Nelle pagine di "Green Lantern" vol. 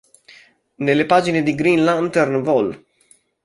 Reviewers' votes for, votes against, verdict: 2, 0, accepted